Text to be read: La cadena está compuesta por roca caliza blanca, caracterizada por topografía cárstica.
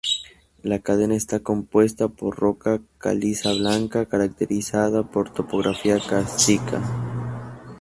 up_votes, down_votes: 2, 0